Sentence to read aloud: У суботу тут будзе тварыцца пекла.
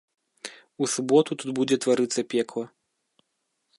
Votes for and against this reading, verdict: 2, 0, accepted